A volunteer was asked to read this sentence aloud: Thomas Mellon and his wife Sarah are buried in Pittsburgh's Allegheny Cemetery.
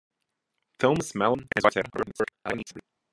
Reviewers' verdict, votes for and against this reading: rejected, 0, 2